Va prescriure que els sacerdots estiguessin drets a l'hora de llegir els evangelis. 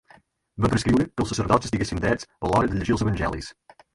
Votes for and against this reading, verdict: 4, 2, accepted